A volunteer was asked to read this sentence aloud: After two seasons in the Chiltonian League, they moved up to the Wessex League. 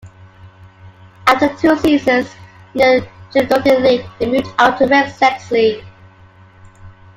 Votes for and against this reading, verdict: 0, 2, rejected